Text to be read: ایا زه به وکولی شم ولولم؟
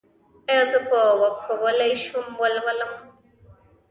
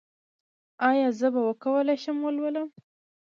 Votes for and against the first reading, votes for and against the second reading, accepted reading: 1, 2, 2, 0, second